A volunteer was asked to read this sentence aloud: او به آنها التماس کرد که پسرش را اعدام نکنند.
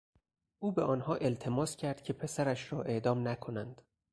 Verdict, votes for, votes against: accepted, 4, 0